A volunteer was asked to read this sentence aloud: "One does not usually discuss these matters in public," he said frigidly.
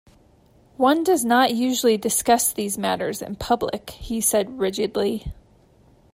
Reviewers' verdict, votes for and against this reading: rejected, 0, 2